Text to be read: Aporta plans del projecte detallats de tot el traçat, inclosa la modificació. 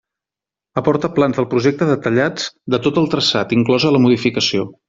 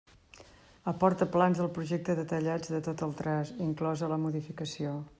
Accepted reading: first